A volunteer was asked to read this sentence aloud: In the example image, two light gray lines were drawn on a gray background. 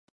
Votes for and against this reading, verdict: 0, 2, rejected